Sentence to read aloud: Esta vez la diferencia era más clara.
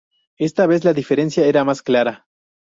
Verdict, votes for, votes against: accepted, 2, 0